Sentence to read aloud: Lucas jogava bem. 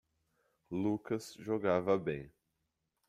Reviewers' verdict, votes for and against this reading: accepted, 2, 1